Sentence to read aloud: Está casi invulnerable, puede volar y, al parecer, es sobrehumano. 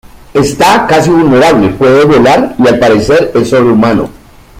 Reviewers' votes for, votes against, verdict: 0, 2, rejected